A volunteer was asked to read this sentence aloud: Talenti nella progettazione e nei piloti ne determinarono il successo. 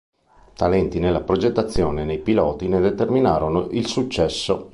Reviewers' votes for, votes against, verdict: 2, 0, accepted